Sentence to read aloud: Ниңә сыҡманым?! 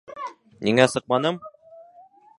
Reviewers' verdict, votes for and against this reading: rejected, 1, 2